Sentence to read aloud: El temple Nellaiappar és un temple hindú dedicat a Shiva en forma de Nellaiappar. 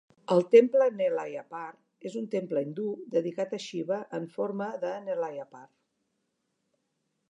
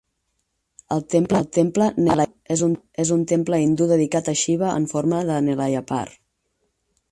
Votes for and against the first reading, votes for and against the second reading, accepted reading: 4, 0, 0, 6, first